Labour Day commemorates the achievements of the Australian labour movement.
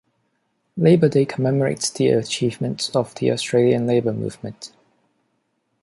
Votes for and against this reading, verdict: 2, 0, accepted